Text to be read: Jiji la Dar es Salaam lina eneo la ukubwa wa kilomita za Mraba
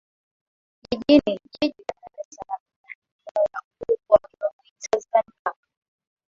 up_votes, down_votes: 0, 2